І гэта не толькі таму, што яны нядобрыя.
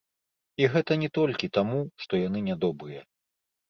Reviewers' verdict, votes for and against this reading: rejected, 1, 2